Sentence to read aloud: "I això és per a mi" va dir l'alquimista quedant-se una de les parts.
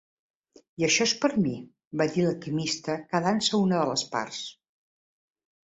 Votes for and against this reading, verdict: 1, 2, rejected